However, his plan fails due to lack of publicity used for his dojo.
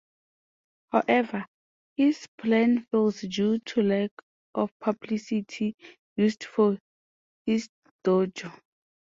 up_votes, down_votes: 2, 1